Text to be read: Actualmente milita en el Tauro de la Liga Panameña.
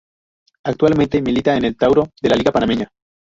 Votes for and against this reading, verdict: 0, 2, rejected